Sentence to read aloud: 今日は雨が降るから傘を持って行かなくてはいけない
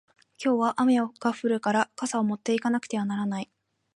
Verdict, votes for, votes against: rejected, 3, 3